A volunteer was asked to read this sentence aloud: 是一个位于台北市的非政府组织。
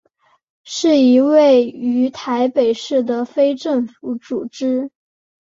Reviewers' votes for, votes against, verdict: 0, 3, rejected